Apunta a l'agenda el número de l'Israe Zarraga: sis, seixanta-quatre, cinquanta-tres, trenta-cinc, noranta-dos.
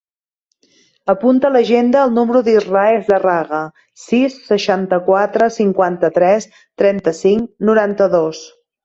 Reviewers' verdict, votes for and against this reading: accepted, 2, 1